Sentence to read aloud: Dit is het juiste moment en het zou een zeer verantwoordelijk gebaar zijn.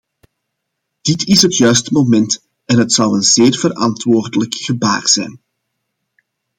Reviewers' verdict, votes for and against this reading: accepted, 2, 1